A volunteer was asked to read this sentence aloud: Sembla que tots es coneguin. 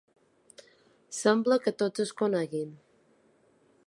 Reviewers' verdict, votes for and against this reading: accepted, 3, 0